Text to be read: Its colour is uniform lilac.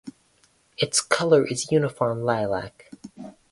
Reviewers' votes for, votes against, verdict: 4, 0, accepted